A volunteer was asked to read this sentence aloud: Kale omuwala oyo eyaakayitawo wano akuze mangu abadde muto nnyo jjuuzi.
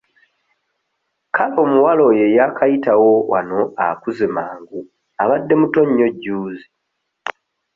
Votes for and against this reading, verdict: 2, 0, accepted